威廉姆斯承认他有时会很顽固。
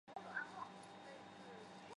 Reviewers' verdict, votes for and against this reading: rejected, 0, 3